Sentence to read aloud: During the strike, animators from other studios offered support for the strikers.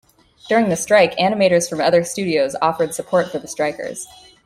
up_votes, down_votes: 2, 0